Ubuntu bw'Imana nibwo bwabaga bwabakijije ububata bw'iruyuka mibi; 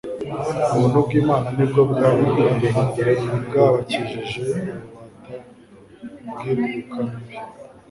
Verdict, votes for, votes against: rejected, 1, 2